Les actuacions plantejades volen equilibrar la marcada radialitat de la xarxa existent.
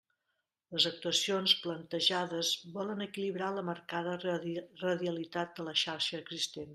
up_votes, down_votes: 0, 2